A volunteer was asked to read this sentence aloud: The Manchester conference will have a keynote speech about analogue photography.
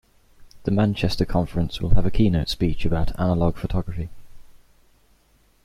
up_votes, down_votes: 2, 0